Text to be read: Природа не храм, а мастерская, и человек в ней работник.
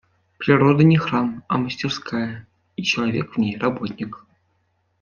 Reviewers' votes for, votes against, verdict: 2, 0, accepted